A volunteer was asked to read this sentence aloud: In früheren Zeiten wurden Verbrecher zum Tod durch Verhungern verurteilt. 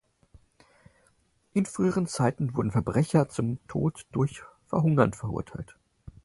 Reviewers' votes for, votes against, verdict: 4, 0, accepted